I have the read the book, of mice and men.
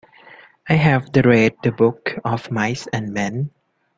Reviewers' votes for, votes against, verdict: 1, 2, rejected